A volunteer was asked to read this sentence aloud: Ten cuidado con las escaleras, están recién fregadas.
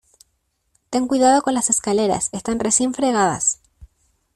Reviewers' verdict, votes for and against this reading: accepted, 2, 0